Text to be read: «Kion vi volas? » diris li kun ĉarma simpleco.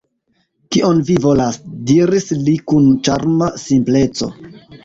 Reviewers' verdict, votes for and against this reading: accepted, 2, 1